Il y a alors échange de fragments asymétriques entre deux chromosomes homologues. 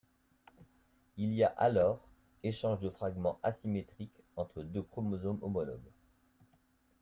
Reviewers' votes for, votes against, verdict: 2, 0, accepted